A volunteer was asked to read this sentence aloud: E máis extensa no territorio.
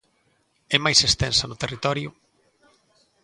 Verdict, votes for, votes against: accepted, 3, 0